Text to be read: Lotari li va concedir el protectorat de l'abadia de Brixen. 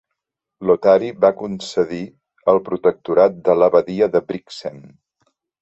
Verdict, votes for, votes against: rejected, 0, 2